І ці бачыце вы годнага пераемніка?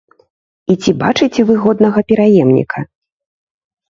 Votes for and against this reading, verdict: 2, 0, accepted